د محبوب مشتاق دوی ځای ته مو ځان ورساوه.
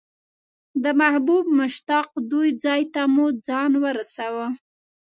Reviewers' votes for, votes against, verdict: 2, 0, accepted